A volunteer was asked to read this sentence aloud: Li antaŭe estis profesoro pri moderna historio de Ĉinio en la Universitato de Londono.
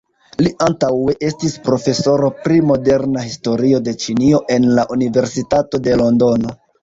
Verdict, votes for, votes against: rejected, 1, 2